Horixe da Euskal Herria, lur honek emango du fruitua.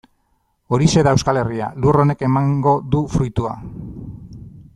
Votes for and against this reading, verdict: 2, 0, accepted